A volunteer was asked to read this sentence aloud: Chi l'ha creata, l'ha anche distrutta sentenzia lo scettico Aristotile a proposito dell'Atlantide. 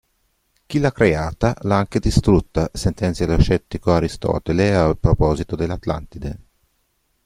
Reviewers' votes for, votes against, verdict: 1, 2, rejected